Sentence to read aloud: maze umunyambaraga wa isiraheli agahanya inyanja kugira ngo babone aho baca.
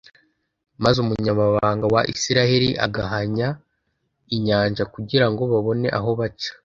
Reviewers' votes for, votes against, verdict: 1, 2, rejected